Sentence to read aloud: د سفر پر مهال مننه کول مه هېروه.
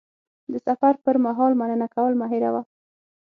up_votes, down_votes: 6, 0